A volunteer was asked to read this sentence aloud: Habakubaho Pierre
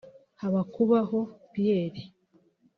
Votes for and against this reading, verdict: 2, 1, accepted